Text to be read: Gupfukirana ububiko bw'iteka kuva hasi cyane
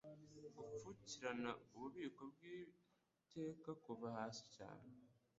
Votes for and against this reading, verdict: 1, 2, rejected